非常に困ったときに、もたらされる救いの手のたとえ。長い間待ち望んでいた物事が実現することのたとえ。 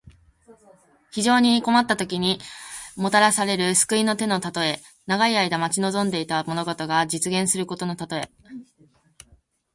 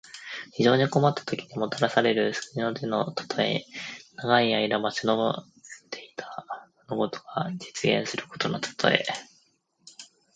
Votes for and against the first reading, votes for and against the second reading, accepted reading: 2, 0, 1, 2, first